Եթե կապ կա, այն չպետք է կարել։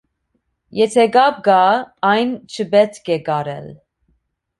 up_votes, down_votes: 2, 0